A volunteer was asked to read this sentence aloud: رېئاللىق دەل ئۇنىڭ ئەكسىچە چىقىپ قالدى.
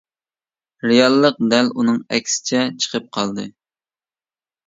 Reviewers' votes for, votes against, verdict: 2, 0, accepted